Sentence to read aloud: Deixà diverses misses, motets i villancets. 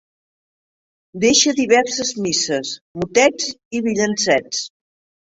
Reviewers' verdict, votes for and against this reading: rejected, 0, 2